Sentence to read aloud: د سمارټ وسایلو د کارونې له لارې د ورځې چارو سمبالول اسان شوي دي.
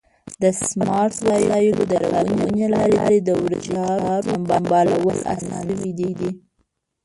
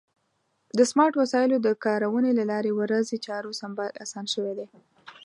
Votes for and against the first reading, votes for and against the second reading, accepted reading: 0, 2, 2, 0, second